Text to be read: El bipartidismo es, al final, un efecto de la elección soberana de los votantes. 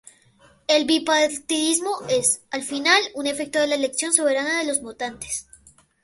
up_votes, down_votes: 0, 2